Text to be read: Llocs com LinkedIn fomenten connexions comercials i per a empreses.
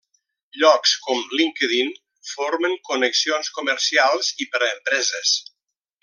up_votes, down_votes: 1, 2